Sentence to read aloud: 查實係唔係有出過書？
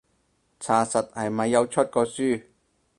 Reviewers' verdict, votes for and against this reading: rejected, 2, 4